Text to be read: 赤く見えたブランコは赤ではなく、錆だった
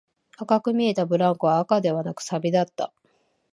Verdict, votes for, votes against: rejected, 1, 2